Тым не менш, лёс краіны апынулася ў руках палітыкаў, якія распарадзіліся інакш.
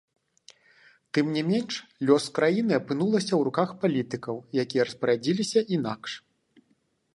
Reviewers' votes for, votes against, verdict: 2, 1, accepted